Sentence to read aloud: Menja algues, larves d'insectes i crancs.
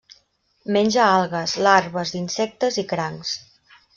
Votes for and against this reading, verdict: 0, 2, rejected